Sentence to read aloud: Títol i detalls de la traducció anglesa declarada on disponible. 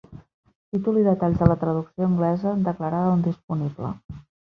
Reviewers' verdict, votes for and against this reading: rejected, 1, 2